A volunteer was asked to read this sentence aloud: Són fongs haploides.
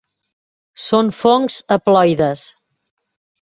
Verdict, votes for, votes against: accepted, 3, 0